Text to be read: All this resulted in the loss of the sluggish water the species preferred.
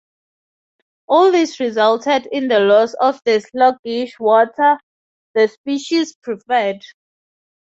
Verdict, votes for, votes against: accepted, 4, 0